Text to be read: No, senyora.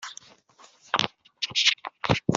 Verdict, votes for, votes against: rejected, 0, 2